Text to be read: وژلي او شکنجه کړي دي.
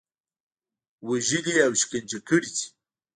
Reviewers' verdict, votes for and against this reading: accepted, 3, 0